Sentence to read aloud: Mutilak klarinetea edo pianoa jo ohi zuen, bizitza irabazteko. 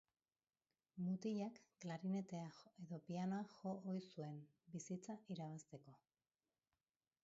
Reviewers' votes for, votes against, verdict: 3, 4, rejected